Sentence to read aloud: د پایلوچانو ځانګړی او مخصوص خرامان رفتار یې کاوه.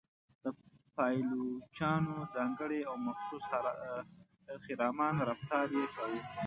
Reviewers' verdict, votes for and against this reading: rejected, 0, 2